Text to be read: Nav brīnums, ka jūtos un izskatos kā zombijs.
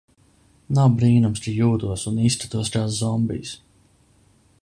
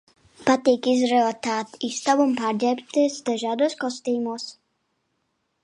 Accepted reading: first